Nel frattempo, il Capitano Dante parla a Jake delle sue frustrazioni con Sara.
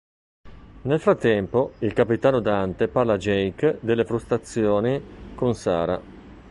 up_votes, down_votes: 0, 2